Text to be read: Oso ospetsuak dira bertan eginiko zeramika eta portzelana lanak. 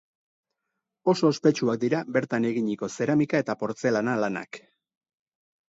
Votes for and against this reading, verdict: 4, 0, accepted